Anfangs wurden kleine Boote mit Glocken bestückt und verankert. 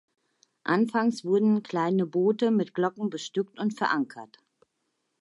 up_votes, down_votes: 2, 0